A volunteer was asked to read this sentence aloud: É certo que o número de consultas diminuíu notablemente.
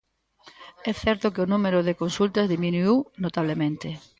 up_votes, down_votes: 2, 1